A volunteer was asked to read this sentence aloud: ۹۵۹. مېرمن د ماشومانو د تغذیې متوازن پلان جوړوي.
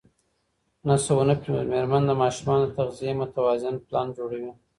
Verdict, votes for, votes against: rejected, 0, 2